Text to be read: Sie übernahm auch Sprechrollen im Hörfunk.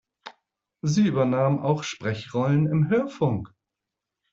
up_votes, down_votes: 2, 0